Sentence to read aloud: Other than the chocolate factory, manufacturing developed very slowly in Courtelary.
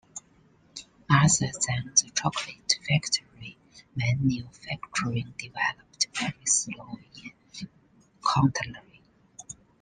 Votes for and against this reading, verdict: 1, 2, rejected